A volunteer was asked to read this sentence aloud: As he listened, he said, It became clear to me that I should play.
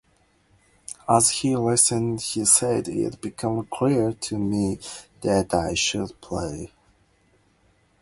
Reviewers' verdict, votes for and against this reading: rejected, 0, 2